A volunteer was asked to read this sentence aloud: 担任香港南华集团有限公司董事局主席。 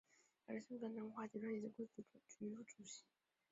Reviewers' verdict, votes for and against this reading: accepted, 5, 2